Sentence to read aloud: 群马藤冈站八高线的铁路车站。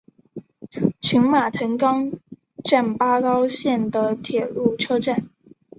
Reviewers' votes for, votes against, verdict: 1, 2, rejected